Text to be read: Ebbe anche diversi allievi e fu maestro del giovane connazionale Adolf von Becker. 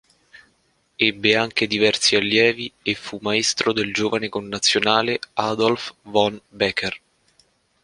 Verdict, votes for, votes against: accepted, 2, 0